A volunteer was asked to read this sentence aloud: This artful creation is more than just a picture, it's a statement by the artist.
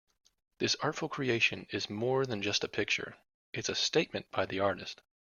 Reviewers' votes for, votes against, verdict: 2, 0, accepted